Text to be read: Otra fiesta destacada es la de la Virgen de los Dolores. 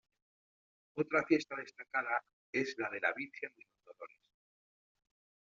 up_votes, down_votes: 0, 2